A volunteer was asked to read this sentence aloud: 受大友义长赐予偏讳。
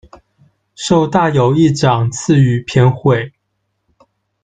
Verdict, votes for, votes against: accepted, 2, 0